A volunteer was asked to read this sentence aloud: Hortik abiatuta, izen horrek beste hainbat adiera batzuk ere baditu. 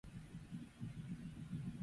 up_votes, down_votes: 0, 2